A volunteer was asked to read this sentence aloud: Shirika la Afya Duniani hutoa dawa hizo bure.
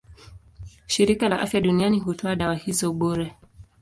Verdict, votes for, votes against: accepted, 2, 1